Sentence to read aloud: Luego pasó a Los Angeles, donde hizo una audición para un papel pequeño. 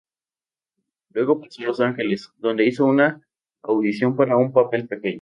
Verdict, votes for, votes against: rejected, 0, 2